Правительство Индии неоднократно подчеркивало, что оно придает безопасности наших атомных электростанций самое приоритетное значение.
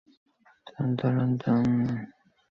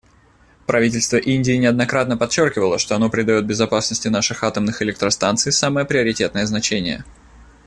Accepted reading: second